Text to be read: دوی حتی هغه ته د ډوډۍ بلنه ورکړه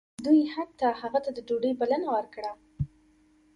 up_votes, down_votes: 1, 2